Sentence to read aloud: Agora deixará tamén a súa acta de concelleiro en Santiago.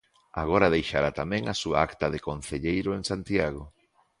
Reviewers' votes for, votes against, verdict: 2, 0, accepted